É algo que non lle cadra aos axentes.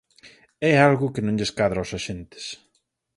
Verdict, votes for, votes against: rejected, 2, 4